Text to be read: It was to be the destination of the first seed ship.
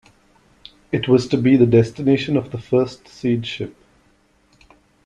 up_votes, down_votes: 2, 0